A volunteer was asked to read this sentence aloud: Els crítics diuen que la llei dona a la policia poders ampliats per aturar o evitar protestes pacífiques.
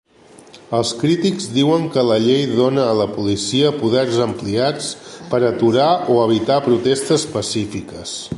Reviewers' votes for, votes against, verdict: 3, 0, accepted